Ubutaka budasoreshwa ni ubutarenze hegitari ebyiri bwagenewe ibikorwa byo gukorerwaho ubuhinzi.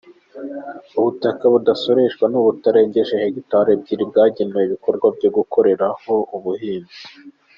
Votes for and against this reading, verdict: 3, 0, accepted